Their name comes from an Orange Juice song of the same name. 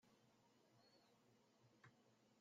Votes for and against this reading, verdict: 0, 2, rejected